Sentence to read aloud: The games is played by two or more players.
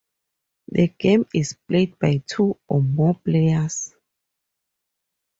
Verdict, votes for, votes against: accepted, 4, 0